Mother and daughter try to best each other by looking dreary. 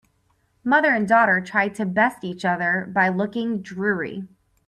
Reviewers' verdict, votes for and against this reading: accepted, 4, 0